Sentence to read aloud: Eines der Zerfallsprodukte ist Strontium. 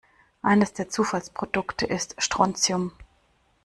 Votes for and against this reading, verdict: 1, 2, rejected